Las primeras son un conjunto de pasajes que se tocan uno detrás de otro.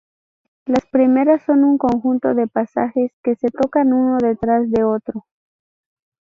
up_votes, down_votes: 2, 0